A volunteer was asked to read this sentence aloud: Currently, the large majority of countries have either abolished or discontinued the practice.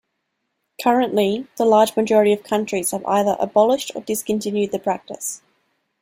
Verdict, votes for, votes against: accepted, 2, 0